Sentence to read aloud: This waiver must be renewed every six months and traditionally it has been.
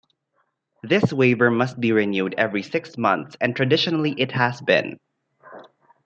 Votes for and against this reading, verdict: 2, 0, accepted